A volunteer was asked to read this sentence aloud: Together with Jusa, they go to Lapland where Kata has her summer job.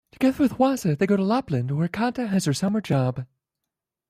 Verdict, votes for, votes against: accepted, 2, 0